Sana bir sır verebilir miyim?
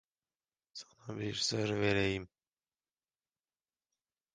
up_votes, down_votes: 0, 2